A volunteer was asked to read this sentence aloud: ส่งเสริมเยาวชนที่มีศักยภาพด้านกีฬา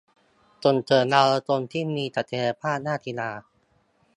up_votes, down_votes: 1, 2